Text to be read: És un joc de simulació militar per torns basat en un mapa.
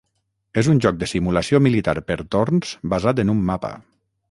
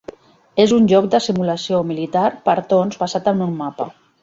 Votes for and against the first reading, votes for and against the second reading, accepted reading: 3, 3, 2, 1, second